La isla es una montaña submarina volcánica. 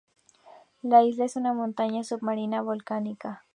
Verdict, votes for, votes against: accepted, 2, 0